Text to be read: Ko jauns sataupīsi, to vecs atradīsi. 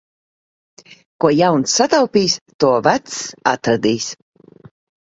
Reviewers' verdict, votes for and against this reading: rejected, 1, 2